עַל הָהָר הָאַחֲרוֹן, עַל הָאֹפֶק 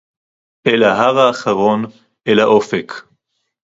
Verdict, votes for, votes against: rejected, 0, 2